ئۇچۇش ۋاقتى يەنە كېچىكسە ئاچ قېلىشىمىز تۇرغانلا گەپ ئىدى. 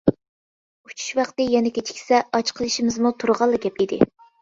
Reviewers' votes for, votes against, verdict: 0, 2, rejected